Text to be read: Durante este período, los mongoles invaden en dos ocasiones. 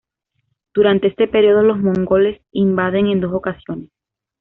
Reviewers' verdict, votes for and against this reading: accepted, 2, 0